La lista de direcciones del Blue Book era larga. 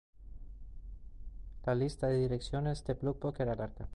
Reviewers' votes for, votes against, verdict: 0, 2, rejected